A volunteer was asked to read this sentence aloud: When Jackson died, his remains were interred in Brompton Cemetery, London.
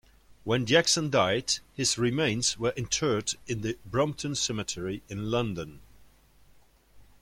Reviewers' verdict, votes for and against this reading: rejected, 1, 2